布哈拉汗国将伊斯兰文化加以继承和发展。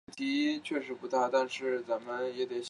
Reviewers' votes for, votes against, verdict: 1, 4, rejected